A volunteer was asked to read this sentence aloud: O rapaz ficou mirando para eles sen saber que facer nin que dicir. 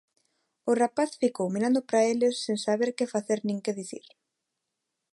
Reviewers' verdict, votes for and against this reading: accepted, 2, 0